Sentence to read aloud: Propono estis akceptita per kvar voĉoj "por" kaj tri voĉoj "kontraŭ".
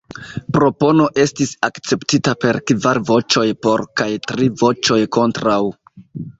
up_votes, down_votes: 1, 2